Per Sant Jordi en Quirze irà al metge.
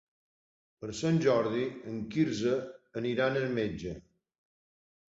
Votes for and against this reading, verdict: 0, 2, rejected